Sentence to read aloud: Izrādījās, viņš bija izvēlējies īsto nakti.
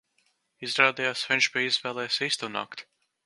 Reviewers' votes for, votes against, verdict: 3, 0, accepted